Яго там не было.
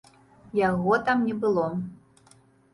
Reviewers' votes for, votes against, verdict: 2, 0, accepted